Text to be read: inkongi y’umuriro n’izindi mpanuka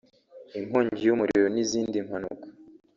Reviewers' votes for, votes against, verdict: 2, 0, accepted